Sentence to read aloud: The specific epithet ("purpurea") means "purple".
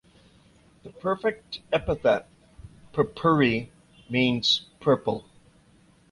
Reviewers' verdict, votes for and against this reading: rejected, 0, 2